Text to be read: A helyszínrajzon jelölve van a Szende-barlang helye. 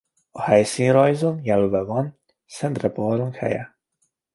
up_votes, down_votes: 0, 2